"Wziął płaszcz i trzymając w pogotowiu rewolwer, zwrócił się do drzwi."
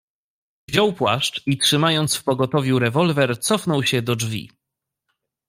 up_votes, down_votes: 1, 2